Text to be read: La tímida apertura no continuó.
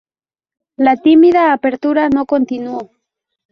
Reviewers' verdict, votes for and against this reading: accepted, 4, 0